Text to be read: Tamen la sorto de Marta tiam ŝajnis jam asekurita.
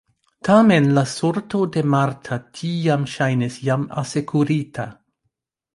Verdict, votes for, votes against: accepted, 2, 1